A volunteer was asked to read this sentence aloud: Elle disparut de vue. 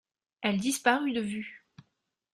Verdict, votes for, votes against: accepted, 2, 0